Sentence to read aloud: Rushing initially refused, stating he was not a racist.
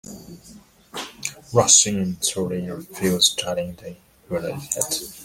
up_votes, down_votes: 0, 2